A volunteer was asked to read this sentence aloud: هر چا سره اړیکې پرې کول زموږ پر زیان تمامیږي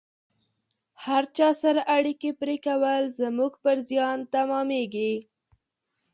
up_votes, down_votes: 2, 0